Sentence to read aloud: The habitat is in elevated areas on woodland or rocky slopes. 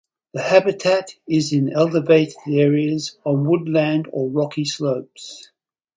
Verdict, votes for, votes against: rejected, 0, 4